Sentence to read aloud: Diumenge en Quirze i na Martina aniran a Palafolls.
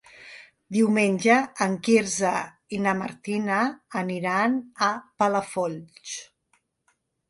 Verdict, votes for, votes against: accepted, 3, 0